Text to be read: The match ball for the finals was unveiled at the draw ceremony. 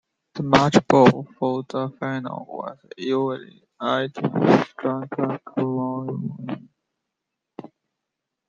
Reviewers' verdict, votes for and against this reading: rejected, 0, 2